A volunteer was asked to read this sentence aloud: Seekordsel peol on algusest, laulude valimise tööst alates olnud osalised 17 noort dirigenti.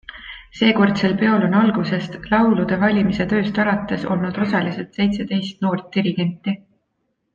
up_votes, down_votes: 0, 2